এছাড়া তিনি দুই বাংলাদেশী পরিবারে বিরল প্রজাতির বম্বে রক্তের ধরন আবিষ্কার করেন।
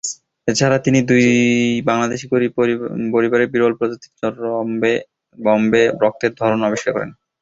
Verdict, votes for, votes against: rejected, 0, 2